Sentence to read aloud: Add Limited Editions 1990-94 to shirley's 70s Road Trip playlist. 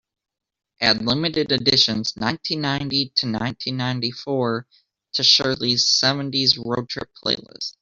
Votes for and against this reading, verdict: 0, 2, rejected